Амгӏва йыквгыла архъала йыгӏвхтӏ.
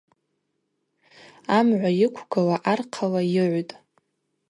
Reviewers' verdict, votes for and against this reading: rejected, 0, 2